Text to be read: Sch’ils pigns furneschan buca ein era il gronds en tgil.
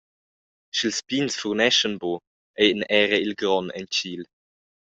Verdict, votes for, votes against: rejected, 0, 2